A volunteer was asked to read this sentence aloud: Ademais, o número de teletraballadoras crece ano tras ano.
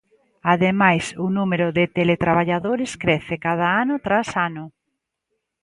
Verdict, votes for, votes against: rejected, 0, 2